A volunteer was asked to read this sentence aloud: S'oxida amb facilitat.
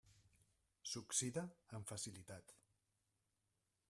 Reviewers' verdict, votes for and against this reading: rejected, 1, 2